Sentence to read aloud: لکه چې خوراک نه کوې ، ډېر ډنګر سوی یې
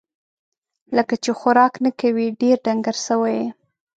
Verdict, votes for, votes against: accepted, 2, 0